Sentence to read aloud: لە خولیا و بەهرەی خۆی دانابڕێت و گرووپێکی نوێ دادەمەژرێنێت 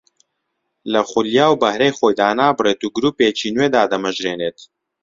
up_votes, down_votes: 2, 0